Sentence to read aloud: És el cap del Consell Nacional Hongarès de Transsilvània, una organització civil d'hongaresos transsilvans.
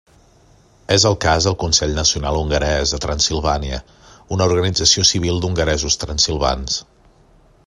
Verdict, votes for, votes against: rejected, 0, 2